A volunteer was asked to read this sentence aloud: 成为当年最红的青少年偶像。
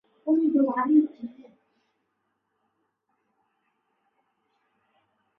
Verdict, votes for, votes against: rejected, 0, 2